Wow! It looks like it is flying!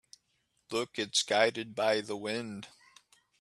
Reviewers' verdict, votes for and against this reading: rejected, 0, 2